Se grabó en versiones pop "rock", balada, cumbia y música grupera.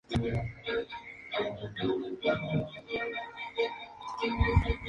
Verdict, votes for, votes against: rejected, 0, 2